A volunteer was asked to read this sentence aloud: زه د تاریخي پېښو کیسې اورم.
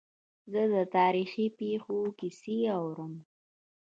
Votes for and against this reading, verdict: 0, 2, rejected